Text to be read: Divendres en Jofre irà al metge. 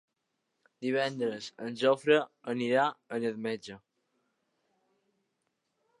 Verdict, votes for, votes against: accepted, 2, 0